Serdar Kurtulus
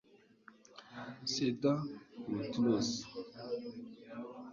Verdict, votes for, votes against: rejected, 1, 2